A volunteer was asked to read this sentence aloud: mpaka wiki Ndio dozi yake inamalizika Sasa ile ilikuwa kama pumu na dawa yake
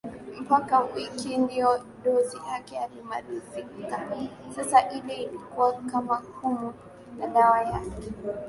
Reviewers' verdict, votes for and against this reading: rejected, 3, 6